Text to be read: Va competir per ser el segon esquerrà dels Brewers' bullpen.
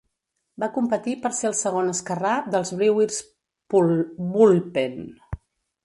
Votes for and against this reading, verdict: 1, 2, rejected